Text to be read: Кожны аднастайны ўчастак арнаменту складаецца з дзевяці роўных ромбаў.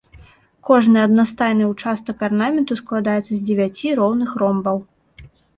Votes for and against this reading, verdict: 2, 0, accepted